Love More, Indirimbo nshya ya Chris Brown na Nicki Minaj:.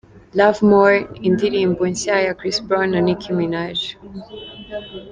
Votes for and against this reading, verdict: 2, 1, accepted